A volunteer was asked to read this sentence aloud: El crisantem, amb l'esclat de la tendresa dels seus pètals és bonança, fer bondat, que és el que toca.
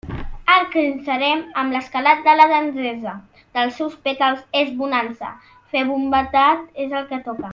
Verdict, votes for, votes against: rejected, 0, 2